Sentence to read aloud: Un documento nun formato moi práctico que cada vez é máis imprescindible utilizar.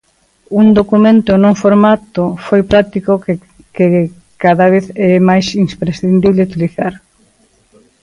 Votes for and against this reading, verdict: 0, 2, rejected